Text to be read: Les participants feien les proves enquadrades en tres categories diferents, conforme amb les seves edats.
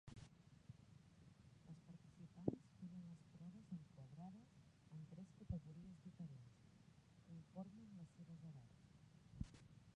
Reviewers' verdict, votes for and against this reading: rejected, 1, 2